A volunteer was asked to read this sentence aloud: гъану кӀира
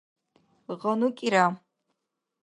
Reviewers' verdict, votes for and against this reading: accepted, 2, 0